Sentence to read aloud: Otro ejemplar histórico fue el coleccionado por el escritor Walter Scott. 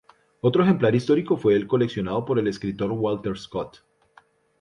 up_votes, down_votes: 4, 0